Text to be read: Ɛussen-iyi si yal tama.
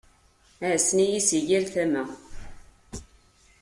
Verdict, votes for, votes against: accepted, 2, 0